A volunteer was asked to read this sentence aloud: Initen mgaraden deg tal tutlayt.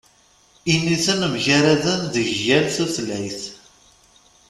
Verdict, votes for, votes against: rejected, 1, 2